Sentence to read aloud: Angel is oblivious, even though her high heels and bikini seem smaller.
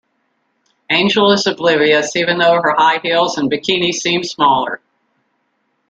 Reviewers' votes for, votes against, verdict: 1, 2, rejected